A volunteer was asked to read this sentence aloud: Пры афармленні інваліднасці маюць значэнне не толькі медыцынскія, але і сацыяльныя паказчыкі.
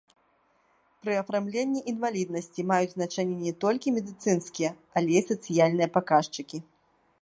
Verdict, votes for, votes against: rejected, 1, 2